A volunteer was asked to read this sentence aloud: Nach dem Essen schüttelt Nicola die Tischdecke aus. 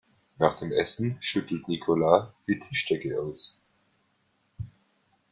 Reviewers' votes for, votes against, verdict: 1, 2, rejected